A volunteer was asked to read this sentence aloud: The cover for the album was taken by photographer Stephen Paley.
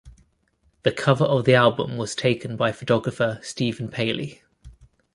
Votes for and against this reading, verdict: 1, 2, rejected